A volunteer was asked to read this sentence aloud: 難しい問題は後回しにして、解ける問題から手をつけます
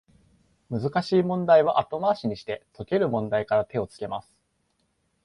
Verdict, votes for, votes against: accepted, 2, 0